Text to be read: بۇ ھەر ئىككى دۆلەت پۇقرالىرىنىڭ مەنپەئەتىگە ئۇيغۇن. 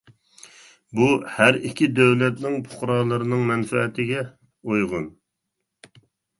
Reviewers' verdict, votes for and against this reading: rejected, 0, 2